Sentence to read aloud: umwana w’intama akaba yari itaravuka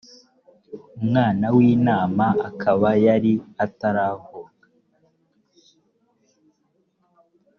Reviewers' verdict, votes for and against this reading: rejected, 1, 2